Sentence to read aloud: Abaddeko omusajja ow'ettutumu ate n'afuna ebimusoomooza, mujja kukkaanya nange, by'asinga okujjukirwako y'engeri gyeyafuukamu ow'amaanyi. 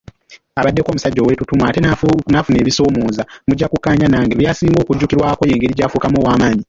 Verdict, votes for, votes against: rejected, 1, 2